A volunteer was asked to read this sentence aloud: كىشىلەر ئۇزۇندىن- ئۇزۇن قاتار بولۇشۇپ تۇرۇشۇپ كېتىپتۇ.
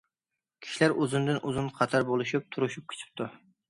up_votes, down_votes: 2, 1